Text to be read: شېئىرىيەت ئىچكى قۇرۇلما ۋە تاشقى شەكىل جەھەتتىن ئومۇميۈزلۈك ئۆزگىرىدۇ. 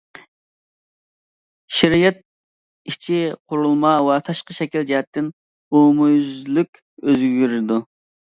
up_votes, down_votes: 0, 2